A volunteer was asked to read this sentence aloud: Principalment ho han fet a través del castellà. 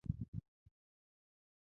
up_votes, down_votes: 0, 2